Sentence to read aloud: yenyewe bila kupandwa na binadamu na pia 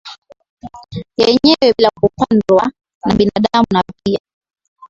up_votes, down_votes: 12, 2